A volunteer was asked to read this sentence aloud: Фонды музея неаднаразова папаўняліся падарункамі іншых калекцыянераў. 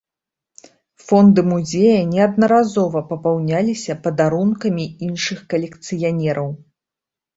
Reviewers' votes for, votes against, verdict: 2, 0, accepted